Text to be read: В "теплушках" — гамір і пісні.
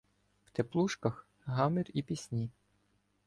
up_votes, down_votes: 2, 0